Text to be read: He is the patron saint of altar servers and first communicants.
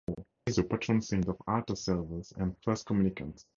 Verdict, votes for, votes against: rejected, 0, 4